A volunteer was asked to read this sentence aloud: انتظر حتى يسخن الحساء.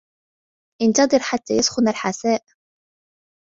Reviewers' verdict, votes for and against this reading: accepted, 2, 0